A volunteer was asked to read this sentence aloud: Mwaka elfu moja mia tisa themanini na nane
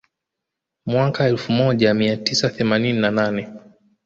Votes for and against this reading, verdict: 1, 2, rejected